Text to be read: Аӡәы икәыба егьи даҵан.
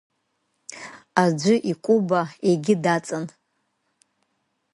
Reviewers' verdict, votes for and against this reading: accepted, 2, 0